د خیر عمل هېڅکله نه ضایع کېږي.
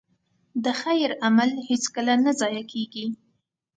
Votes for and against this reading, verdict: 2, 0, accepted